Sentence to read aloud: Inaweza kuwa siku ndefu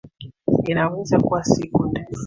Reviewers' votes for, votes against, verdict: 2, 1, accepted